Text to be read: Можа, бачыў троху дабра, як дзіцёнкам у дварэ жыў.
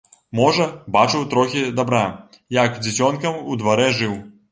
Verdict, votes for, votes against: rejected, 0, 2